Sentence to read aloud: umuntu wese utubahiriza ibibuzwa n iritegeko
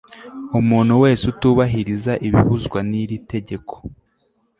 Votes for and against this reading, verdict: 2, 0, accepted